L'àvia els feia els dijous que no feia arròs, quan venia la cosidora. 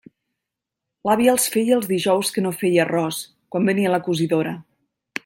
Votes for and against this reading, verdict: 2, 0, accepted